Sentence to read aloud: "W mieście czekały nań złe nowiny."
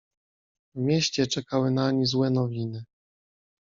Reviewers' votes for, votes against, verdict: 2, 0, accepted